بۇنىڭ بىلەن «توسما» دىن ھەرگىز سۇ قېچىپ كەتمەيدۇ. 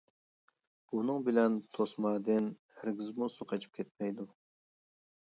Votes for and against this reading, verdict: 1, 2, rejected